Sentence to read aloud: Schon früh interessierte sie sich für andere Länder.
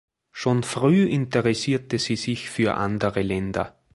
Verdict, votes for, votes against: accepted, 2, 0